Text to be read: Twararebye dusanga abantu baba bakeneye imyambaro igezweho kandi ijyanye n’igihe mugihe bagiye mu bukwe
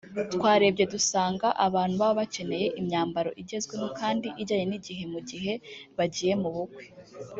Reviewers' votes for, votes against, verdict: 1, 2, rejected